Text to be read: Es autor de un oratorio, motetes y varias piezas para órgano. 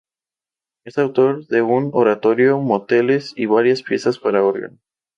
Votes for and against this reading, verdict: 0, 2, rejected